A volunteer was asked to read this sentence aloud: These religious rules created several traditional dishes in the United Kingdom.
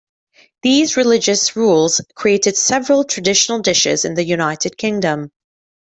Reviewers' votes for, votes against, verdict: 2, 0, accepted